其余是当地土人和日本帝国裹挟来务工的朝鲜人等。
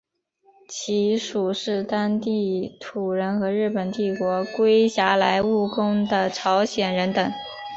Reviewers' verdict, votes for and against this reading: accepted, 5, 0